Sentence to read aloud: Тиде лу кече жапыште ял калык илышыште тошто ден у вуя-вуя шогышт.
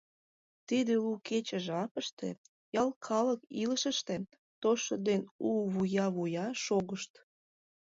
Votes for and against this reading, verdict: 1, 2, rejected